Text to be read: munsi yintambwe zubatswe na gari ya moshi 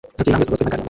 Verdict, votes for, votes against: rejected, 0, 2